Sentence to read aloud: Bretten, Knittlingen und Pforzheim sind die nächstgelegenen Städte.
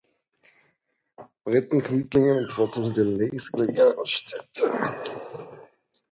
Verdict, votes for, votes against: rejected, 0, 2